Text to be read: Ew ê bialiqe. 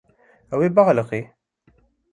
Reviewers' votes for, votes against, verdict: 1, 2, rejected